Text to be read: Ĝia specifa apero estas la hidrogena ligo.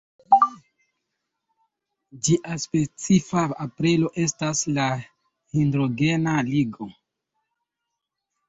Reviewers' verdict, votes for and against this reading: rejected, 0, 2